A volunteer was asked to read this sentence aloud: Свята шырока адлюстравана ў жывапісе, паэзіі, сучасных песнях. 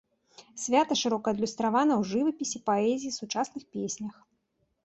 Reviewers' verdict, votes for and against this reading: accepted, 2, 0